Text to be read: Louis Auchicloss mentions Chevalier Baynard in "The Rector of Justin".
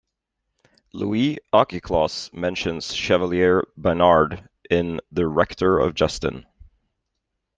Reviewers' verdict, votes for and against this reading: accepted, 2, 0